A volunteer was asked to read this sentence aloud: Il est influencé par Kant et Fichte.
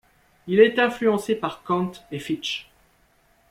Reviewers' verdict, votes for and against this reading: accepted, 2, 0